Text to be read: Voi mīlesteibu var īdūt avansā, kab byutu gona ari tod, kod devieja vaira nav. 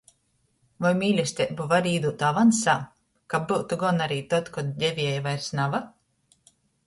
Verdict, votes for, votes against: rejected, 1, 2